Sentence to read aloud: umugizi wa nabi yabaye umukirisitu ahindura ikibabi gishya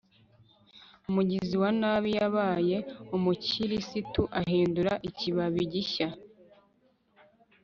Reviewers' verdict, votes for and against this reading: accepted, 3, 0